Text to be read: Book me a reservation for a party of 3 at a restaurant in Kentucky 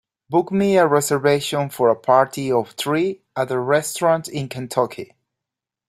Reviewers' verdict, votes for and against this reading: rejected, 0, 2